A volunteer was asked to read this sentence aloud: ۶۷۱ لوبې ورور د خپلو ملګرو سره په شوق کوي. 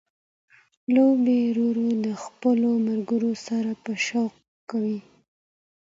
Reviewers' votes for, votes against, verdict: 0, 2, rejected